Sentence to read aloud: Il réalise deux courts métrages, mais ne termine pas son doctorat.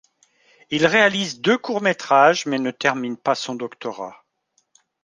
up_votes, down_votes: 2, 0